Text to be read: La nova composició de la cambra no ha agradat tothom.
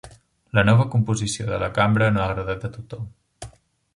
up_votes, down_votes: 1, 2